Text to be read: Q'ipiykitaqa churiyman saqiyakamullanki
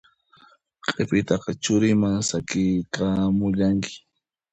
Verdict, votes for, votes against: rejected, 0, 2